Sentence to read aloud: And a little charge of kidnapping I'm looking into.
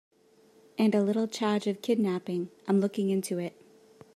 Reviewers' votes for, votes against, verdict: 0, 2, rejected